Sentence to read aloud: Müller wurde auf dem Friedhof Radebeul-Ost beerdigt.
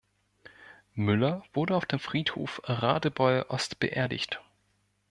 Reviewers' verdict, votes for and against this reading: accepted, 2, 0